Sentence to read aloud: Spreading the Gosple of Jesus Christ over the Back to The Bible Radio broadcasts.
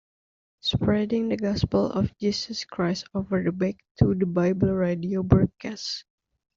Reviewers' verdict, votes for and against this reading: rejected, 1, 2